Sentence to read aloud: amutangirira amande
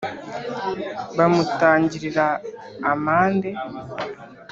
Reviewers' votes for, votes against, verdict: 3, 0, accepted